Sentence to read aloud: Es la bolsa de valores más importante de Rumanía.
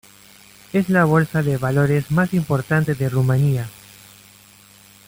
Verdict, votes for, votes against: accepted, 2, 0